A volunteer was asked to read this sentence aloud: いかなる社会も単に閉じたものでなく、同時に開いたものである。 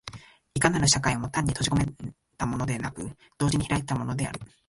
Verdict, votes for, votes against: rejected, 0, 2